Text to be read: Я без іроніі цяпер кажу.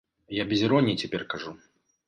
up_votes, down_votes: 2, 0